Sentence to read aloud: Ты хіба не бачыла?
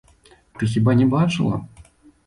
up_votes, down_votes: 2, 0